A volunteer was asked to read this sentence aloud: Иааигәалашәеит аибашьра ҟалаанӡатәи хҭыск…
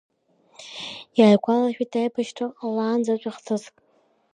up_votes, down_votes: 2, 1